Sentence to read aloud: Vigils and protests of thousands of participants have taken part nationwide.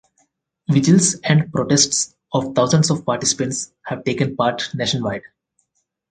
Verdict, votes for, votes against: accepted, 4, 0